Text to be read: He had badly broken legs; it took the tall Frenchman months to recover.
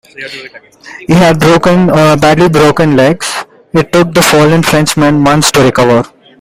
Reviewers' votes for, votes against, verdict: 1, 2, rejected